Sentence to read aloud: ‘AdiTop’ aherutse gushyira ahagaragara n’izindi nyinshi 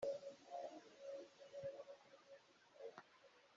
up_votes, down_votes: 1, 2